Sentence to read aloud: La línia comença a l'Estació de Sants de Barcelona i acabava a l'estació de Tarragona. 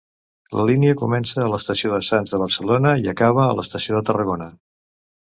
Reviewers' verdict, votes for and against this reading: rejected, 1, 2